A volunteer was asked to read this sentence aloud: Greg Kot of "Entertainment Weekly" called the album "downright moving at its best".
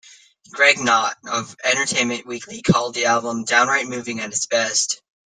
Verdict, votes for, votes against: accepted, 2, 1